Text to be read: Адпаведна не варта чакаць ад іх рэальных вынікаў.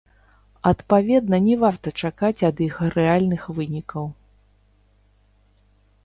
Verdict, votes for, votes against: rejected, 0, 2